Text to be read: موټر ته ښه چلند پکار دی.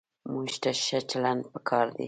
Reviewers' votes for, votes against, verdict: 1, 2, rejected